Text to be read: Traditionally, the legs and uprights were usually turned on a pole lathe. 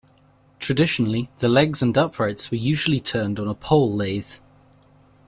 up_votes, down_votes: 2, 0